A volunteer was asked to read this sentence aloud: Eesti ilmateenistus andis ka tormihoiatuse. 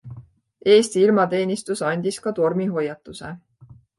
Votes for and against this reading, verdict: 2, 0, accepted